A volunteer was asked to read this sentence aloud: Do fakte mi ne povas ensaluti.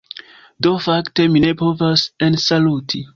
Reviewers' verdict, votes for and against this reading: accepted, 2, 1